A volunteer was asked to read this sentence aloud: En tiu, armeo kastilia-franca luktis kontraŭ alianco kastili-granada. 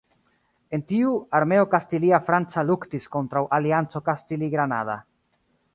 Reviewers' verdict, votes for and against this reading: accepted, 3, 2